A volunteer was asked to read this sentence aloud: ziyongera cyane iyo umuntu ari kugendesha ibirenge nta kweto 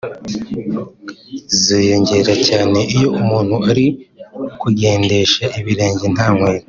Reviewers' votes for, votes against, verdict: 1, 2, rejected